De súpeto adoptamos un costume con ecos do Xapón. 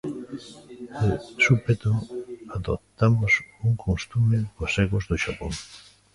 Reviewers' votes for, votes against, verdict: 1, 2, rejected